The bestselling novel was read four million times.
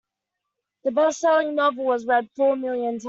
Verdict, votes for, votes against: rejected, 0, 2